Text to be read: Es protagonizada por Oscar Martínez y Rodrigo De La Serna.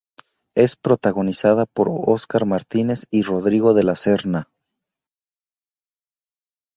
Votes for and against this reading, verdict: 2, 0, accepted